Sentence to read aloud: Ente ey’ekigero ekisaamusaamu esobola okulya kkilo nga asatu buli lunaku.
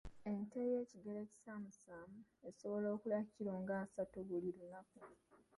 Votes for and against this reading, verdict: 0, 2, rejected